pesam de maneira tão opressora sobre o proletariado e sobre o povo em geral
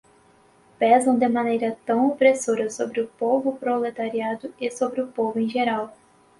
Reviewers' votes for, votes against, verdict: 0, 4, rejected